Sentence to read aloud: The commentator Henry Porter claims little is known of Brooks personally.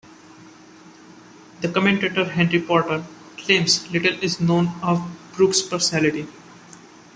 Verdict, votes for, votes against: rejected, 1, 2